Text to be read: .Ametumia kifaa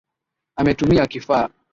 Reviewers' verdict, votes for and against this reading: accepted, 9, 4